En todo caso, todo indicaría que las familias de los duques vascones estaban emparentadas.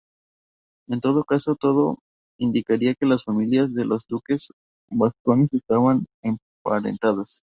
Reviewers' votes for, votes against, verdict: 2, 0, accepted